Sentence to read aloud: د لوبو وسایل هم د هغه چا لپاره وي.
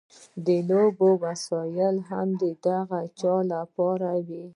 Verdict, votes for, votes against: accepted, 2, 0